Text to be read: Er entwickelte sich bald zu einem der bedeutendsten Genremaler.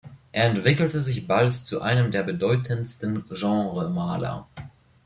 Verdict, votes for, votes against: accepted, 2, 0